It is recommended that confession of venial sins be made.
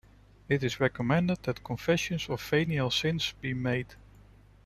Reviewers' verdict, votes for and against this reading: accepted, 2, 0